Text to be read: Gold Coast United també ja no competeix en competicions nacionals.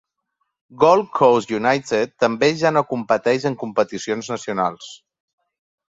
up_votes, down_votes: 2, 0